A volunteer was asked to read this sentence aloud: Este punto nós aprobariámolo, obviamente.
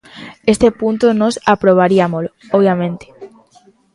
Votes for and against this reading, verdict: 2, 1, accepted